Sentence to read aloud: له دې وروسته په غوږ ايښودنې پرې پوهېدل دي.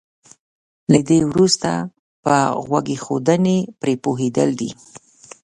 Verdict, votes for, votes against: accepted, 2, 0